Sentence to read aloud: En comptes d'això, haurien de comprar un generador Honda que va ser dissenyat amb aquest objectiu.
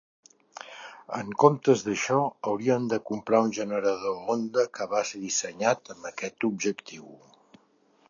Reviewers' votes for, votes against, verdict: 2, 0, accepted